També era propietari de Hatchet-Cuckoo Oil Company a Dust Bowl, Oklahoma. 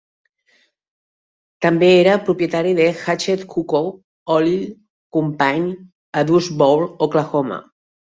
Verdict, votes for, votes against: rejected, 0, 2